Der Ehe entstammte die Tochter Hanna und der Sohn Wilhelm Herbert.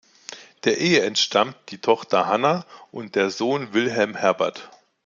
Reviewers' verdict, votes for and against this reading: rejected, 0, 2